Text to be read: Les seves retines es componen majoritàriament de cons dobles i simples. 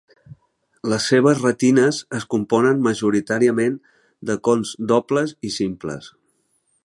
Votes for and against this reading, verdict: 4, 0, accepted